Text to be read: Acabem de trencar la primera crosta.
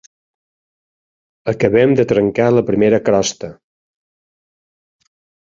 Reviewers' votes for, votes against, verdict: 3, 0, accepted